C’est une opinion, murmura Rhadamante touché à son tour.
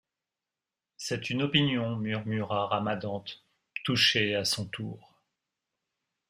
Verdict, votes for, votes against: rejected, 1, 2